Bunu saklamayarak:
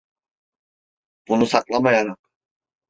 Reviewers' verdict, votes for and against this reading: rejected, 1, 2